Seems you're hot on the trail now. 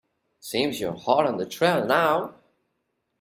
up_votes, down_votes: 2, 0